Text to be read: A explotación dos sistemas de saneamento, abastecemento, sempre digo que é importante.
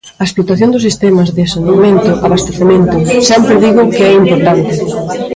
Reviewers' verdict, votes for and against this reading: rejected, 1, 2